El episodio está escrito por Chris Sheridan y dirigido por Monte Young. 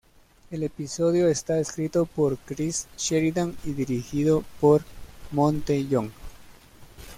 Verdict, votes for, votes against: accepted, 2, 1